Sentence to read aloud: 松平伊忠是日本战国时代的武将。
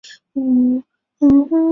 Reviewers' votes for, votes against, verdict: 1, 5, rejected